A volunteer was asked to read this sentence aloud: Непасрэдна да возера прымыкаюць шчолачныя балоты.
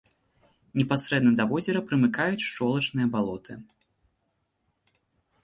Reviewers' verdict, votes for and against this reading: accepted, 2, 1